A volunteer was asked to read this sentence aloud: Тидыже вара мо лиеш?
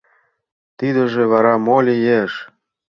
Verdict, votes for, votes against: accepted, 2, 0